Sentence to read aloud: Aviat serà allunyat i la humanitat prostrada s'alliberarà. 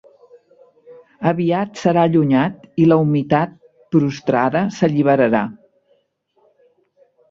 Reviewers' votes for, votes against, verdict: 1, 2, rejected